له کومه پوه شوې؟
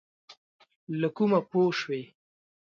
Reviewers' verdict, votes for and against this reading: accepted, 2, 0